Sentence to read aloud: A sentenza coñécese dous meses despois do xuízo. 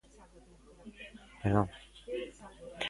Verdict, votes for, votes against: rejected, 0, 2